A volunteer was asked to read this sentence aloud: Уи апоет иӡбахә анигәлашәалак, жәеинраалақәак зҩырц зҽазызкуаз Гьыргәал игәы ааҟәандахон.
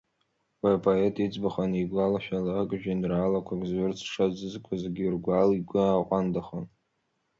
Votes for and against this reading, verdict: 2, 0, accepted